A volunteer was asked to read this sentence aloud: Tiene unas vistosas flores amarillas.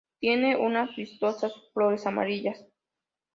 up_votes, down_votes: 2, 0